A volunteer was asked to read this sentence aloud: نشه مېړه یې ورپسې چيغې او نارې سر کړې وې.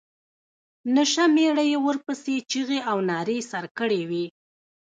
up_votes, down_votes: 1, 2